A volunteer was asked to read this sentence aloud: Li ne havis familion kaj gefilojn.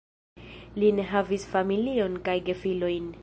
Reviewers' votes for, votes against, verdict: 1, 2, rejected